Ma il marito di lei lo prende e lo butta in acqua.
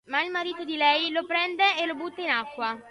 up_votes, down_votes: 2, 0